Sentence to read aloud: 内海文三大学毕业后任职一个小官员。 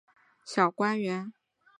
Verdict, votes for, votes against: rejected, 2, 6